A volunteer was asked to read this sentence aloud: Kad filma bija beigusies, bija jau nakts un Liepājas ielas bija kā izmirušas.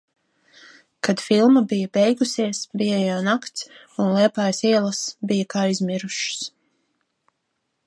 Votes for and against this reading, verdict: 2, 0, accepted